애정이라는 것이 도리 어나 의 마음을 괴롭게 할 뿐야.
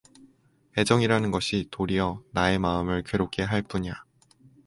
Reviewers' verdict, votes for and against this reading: accepted, 4, 0